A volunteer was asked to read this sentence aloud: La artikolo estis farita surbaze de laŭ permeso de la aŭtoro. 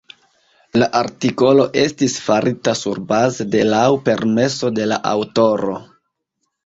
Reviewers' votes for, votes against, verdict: 2, 0, accepted